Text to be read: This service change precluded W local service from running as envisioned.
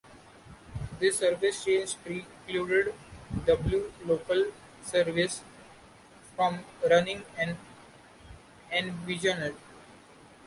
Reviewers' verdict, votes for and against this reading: rejected, 1, 2